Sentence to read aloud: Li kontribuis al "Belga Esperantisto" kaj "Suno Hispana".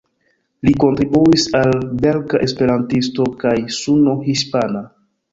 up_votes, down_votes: 2, 1